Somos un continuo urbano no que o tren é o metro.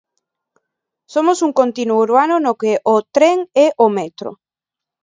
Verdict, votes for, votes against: rejected, 0, 2